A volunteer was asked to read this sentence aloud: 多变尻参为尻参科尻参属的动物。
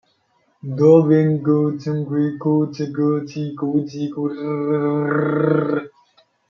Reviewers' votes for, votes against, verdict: 0, 2, rejected